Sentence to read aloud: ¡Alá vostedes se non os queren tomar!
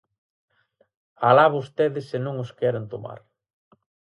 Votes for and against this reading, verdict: 6, 0, accepted